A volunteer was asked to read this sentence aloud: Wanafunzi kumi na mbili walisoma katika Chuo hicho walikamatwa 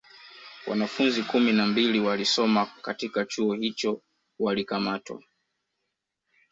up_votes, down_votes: 1, 2